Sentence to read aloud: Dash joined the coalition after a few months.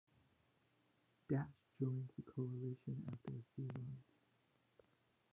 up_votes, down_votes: 1, 2